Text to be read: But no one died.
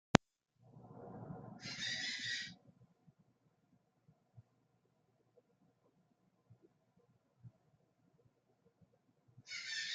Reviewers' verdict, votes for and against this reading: rejected, 0, 2